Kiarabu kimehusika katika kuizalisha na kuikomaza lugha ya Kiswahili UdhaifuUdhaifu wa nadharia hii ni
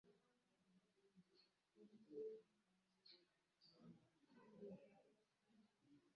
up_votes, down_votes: 0, 2